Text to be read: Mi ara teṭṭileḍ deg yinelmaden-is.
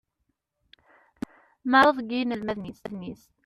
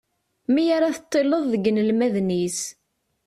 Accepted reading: second